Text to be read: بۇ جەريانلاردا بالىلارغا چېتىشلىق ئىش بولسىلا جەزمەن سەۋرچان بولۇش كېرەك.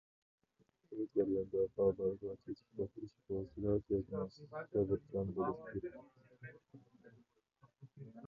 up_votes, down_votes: 0, 2